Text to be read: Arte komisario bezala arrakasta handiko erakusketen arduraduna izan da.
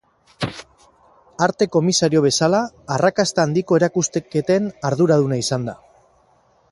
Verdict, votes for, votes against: rejected, 0, 4